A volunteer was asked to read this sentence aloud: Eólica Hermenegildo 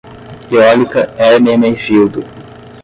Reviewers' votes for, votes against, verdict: 5, 5, rejected